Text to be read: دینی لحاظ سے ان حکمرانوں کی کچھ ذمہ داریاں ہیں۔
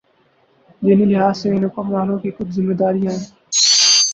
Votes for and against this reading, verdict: 0, 4, rejected